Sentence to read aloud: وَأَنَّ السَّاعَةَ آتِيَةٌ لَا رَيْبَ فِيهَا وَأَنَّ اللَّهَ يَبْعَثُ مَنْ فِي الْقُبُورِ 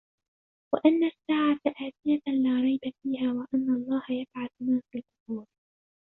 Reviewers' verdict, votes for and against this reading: rejected, 0, 2